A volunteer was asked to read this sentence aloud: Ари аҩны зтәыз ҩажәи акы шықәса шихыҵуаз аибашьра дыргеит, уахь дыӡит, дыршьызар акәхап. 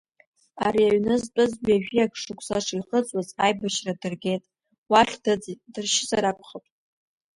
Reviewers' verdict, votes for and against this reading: accepted, 2, 1